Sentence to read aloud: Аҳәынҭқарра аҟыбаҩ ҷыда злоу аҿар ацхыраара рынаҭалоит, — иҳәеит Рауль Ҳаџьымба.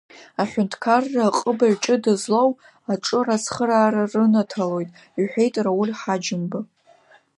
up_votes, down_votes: 2, 1